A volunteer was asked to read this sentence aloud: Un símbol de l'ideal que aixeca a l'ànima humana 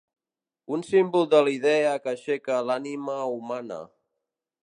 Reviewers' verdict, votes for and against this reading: rejected, 0, 3